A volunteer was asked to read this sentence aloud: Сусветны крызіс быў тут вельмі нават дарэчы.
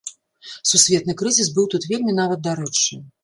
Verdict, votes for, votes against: accepted, 2, 0